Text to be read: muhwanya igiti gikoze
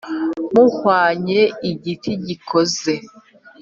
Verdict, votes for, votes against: rejected, 0, 2